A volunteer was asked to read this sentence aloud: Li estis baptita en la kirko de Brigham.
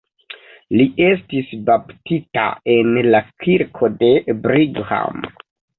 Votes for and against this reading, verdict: 2, 1, accepted